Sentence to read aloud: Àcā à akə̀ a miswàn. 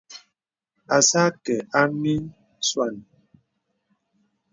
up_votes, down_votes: 2, 0